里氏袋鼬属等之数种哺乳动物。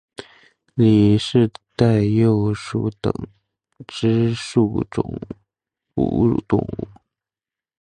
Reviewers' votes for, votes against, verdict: 1, 2, rejected